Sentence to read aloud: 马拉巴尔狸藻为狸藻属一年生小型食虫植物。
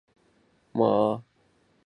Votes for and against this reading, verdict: 2, 5, rejected